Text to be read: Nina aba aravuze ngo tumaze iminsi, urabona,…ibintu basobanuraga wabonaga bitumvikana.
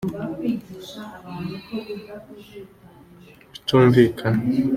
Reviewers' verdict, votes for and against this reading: rejected, 1, 2